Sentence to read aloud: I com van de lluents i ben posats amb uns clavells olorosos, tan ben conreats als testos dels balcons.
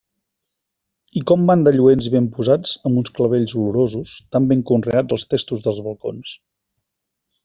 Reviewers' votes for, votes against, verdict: 2, 0, accepted